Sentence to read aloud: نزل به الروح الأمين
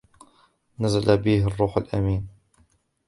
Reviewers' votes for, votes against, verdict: 2, 1, accepted